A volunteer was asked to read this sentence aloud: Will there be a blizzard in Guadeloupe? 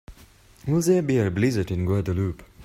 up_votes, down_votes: 3, 0